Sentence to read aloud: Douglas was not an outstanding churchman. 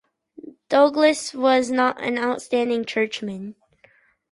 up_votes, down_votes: 4, 0